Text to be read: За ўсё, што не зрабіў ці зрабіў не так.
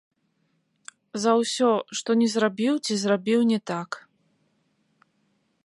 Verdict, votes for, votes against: rejected, 0, 2